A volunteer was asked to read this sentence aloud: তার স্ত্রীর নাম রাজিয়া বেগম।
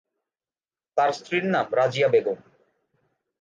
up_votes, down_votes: 2, 0